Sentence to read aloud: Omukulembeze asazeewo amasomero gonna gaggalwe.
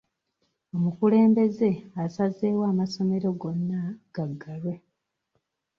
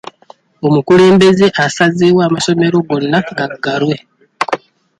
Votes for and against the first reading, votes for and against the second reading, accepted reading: 0, 2, 2, 0, second